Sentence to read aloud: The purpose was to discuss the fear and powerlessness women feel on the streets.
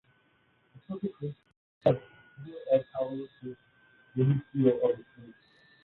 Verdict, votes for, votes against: rejected, 0, 2